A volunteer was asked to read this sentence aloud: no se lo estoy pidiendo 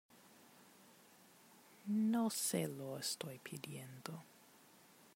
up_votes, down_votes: 1, 2